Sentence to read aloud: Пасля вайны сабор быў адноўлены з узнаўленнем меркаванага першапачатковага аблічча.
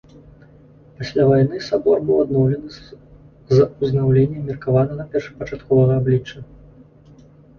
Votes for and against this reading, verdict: 0, 2, rejected